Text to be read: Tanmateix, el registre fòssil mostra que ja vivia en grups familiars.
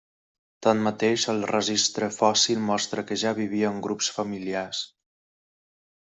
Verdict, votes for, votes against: accepted, 3, 0